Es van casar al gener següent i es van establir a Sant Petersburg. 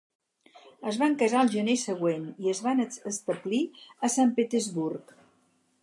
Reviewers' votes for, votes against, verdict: 0, 4, rejected